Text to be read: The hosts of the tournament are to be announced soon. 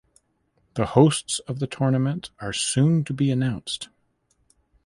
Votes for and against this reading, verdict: 0, 2, rejected